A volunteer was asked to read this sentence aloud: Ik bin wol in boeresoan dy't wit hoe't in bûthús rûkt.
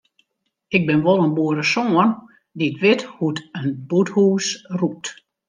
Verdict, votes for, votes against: rejected, 1, 2